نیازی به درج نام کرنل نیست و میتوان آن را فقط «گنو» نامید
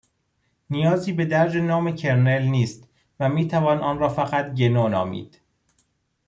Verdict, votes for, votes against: accepted, 2, 0